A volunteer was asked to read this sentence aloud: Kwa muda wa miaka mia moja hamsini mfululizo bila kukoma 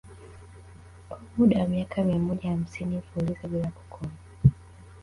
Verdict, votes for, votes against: rejected, 0, 2